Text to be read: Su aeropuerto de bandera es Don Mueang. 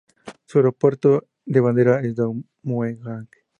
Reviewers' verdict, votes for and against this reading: accepted, 2, 0